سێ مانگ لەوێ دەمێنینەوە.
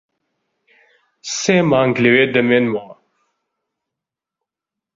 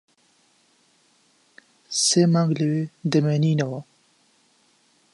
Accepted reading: second